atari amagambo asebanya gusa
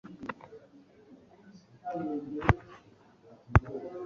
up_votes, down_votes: 1, 2